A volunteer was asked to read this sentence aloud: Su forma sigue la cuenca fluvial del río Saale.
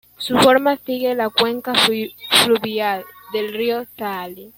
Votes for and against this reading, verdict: 0, 2, rejected